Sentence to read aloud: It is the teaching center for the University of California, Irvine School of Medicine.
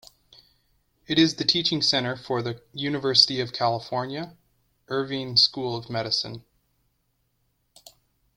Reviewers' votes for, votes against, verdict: 1, 2, rejected